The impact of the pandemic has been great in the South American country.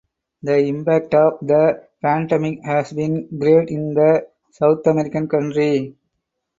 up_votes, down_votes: 4, 0